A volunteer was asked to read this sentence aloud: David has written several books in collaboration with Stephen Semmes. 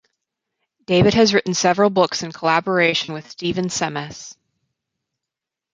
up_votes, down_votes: 4, 0